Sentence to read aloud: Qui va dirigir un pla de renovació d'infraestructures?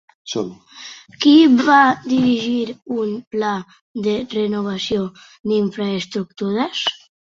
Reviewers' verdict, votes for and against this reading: rejected, 0, 2